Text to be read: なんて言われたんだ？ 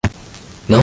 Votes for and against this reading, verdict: 0, 2, rejected